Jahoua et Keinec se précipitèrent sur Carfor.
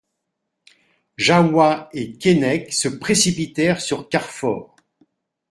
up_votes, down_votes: 2, 0